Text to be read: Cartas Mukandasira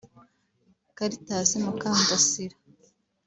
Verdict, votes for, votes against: accepted, 2, 1